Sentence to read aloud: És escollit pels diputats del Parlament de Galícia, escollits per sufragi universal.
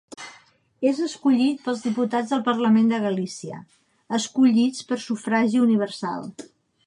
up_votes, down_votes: 2, 0